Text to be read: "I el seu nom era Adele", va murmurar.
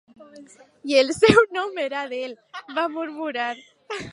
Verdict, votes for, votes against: accepted, 2, 0